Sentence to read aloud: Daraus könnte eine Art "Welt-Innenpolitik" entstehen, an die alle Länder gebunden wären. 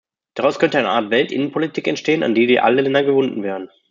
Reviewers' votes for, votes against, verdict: 1, 2, rejected